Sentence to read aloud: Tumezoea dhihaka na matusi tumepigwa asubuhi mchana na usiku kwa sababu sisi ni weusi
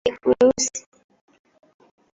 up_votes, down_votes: 0, 2